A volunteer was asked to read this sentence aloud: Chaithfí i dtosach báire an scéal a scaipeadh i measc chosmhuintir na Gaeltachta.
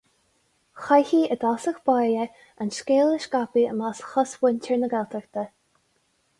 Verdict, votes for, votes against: accepted, 2, 0